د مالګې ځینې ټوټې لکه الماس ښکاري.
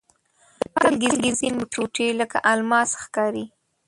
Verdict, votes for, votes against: rejected, 1, 2